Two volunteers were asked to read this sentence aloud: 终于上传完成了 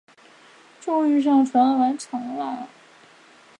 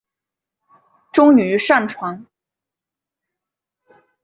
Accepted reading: first